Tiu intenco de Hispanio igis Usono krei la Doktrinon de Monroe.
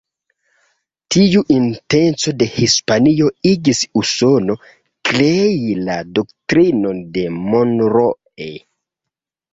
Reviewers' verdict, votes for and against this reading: accepted, 2, 0